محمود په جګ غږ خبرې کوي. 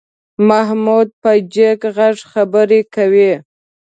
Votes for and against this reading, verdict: 2, 0, accepted